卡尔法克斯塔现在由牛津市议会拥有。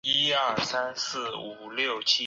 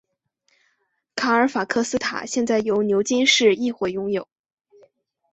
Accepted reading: second